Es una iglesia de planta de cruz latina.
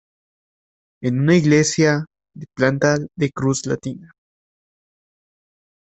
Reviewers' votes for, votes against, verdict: 0, 2, rejected